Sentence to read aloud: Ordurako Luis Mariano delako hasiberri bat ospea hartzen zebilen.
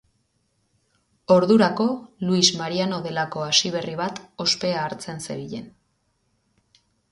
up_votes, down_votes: 2, 0